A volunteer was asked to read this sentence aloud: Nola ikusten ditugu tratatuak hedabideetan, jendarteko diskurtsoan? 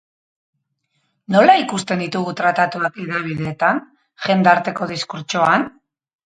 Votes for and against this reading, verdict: 2, 2, rejected